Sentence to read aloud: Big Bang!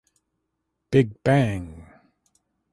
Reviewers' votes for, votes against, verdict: 2, 0, accepted